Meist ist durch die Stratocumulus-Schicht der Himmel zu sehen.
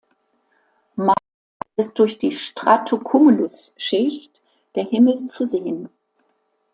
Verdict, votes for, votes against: rejected, 1, 2